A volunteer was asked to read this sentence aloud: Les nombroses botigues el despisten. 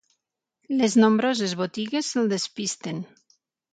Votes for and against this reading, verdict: 3, 0, accepted